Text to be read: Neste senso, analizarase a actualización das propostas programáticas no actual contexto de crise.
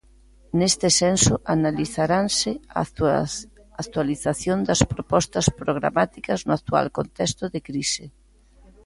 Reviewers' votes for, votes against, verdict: 1, 2, rejected